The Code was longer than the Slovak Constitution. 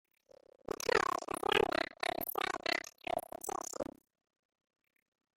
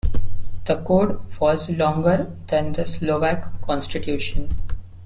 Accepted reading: second